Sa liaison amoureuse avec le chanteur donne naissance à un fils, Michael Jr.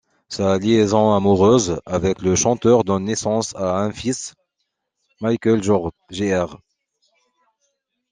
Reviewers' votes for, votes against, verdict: 0, 2, rejected